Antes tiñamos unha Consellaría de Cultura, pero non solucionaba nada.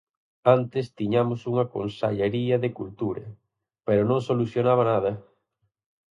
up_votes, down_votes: 0, 4